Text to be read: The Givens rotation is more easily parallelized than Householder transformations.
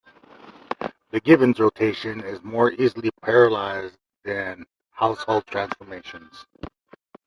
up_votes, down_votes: 0, 2